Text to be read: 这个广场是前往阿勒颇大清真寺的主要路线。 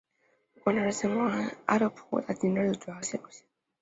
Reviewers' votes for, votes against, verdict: 0, 2, rejected